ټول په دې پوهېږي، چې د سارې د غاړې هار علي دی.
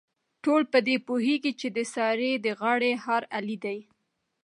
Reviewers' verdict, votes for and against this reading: accepted, 2, 0